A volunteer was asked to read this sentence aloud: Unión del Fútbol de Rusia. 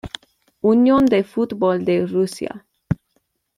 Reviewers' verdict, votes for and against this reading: accepted, 2, 1